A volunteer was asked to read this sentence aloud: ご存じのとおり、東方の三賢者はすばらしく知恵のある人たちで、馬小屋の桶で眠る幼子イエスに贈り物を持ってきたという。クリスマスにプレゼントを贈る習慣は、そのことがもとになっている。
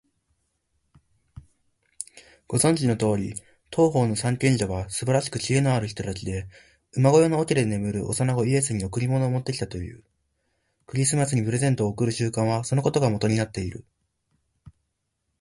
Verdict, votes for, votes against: accepted, 3, 0